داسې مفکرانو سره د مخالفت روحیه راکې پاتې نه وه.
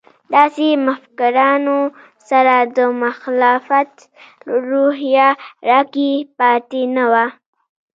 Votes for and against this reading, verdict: 0, 2, rejected